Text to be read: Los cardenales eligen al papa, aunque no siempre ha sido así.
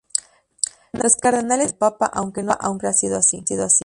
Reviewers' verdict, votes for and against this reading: rejected, 0, 2